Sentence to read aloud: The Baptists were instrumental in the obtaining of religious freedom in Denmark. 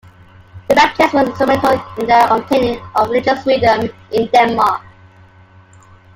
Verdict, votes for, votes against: accepted, 2, 0